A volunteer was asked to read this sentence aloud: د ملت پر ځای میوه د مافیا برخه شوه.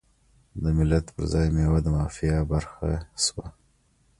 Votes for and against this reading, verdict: 2, 0, accepted